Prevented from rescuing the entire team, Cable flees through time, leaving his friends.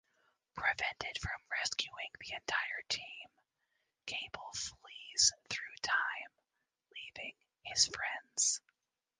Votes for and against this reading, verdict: 2, 0, accepted